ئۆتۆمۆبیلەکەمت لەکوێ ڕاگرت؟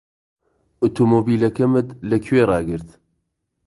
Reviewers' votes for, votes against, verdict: 2, 0, accepted